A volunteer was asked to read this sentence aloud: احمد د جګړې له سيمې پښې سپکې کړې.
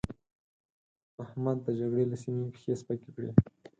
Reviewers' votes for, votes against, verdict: 4, 2, accepted